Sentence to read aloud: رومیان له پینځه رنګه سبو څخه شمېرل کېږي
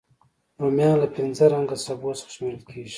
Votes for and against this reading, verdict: 2, 0, accepted